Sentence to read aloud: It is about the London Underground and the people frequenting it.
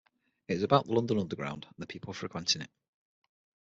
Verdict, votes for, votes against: accepted, 6, 0